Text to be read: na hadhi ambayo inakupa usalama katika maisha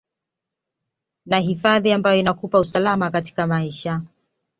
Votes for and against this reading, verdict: 2, 0, accepted